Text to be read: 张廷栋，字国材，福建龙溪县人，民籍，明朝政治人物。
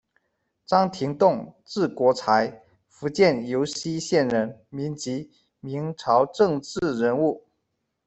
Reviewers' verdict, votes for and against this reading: rejected, 0, 2